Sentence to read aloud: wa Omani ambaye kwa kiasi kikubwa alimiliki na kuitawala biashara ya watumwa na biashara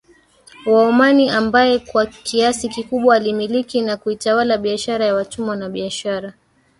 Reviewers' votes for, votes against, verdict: 1, 2, rejected